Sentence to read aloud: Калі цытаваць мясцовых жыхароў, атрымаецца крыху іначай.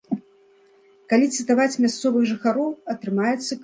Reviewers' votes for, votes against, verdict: 0, 2, rejected